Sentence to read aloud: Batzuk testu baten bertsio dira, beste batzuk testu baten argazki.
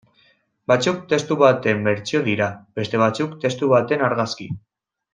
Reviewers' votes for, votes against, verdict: 3, 0, accepted